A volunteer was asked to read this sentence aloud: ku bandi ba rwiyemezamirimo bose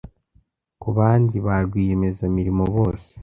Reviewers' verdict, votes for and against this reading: accepted, 2, 0